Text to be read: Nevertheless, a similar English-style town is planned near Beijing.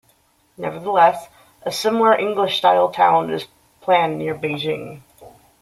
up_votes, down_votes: 2, 0